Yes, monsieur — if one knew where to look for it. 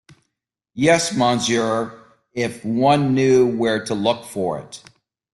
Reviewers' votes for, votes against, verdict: 2, 1, accepted